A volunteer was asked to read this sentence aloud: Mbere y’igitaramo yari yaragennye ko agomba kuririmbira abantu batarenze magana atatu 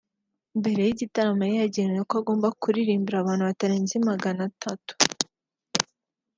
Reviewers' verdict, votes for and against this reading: accepted, 3, 1